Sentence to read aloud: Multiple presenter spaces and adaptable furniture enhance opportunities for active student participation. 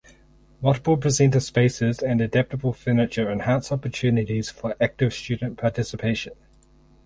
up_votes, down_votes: 4, 0